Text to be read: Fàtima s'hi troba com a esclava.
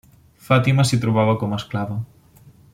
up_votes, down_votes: 0, 2